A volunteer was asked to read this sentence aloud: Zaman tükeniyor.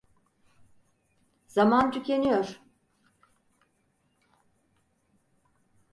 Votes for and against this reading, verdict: 4, 0, accepted